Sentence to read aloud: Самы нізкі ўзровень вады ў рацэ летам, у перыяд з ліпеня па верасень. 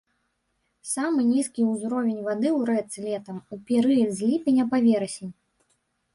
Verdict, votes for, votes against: rejected, 0, 2